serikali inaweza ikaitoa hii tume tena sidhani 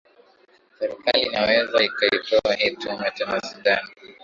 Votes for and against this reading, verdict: 1, 2, rejected